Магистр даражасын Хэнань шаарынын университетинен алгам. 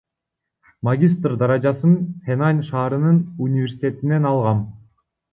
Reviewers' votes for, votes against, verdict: 0, 2, rejected